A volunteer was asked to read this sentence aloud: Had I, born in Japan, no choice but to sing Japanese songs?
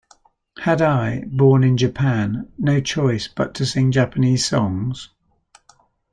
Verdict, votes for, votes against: accepted, 2, 0